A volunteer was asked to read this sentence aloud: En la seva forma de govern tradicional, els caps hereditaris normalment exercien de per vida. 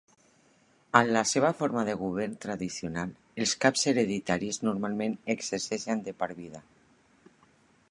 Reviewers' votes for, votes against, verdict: 2, 1, accepted